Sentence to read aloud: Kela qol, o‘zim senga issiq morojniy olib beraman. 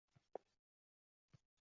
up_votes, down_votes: 0, 2